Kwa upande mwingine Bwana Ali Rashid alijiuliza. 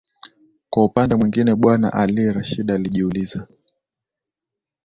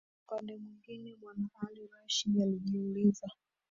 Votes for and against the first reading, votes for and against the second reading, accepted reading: 6, 0, 0, 2, first